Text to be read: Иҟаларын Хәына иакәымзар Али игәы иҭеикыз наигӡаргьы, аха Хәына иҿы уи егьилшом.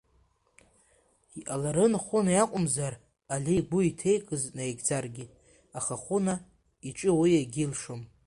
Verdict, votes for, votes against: rejected, 1, 2